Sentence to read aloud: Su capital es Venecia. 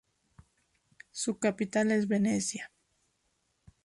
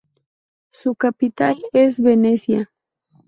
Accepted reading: first